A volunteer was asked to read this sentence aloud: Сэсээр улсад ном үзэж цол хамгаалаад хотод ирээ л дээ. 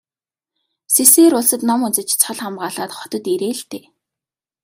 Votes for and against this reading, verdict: 2, 0, accepted